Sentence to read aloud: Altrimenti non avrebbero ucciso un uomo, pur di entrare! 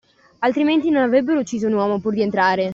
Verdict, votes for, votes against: accepted, 2, 1